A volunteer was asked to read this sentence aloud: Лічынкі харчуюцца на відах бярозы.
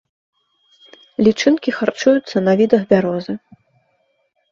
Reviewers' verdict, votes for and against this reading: accepted, 3, 0